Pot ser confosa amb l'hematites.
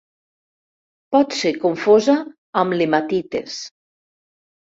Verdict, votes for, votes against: rejected, 1, 2